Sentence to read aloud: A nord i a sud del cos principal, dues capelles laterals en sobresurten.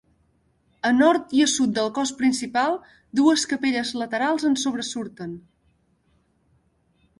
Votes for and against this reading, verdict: 2, 0, accepted